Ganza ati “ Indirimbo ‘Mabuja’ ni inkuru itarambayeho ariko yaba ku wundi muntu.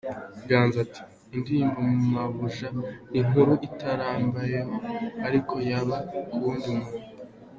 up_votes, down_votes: 3, 2